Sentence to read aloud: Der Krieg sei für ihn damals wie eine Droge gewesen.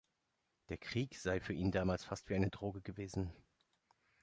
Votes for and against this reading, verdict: 0, 2, rejected